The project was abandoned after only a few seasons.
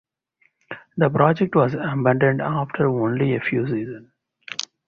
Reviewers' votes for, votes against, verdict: 0, 2, rejected